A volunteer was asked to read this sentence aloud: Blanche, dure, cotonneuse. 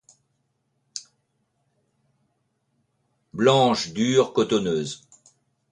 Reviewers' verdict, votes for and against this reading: accepted, 2, 0